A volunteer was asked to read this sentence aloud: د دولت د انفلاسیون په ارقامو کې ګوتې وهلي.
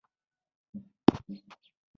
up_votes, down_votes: 1, 2